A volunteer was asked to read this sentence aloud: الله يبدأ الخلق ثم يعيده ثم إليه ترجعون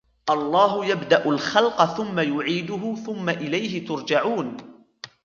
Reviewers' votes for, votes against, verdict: 3, 1, accepted